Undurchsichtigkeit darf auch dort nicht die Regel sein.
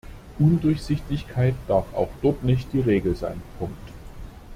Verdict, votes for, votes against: rejected, 0, 2